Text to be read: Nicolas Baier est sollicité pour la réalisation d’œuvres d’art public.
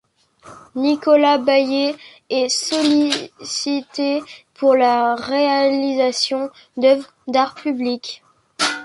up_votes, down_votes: 1, 2